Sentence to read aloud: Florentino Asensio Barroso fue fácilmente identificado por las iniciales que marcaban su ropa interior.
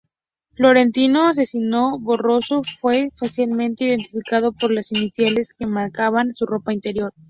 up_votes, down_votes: 0, 2